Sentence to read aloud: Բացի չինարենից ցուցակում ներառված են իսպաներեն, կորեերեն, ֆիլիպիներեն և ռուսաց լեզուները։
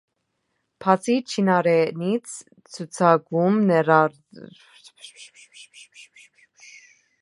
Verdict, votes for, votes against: rejected, 0, 2